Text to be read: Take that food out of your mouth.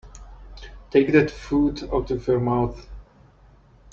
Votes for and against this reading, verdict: 2, 0, accepted